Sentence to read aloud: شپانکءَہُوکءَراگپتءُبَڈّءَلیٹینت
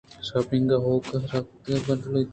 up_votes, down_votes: 2, 0